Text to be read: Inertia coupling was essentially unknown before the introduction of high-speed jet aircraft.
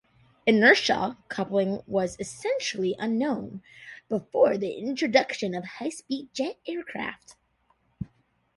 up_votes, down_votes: 2, 1